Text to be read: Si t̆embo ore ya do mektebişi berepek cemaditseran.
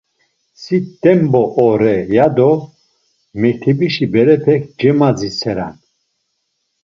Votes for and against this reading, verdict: 2, 0, accepted